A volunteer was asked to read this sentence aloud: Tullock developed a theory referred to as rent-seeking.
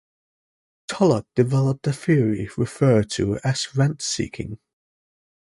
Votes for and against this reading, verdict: 2, 0, accepted